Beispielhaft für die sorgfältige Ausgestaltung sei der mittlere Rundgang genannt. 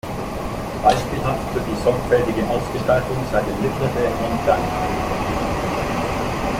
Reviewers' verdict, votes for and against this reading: rejected, 0, 2